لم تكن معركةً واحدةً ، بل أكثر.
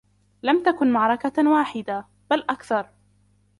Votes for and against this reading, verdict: 0, 2, rejected